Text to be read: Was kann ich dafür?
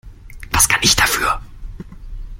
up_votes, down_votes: 1, 2